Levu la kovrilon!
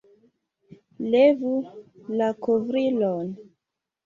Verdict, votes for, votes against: accepted, 2, 0